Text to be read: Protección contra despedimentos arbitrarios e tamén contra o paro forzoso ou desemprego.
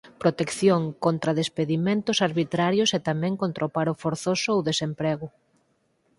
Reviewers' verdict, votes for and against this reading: accepted, 4, 0